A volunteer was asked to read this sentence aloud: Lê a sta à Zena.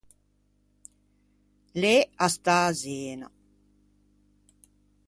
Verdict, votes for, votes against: rejected, 0, 2